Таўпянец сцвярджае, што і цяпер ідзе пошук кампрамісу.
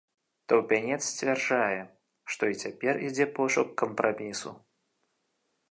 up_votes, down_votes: 2, 0